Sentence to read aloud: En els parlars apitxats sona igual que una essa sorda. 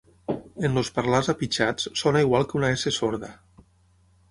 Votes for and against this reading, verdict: 0, 6, rejected